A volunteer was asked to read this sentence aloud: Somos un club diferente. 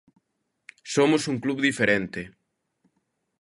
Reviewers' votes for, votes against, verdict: 2, 0, accepted